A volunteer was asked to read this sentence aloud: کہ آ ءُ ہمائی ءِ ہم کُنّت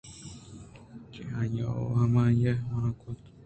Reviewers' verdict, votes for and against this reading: rejected, 0, 2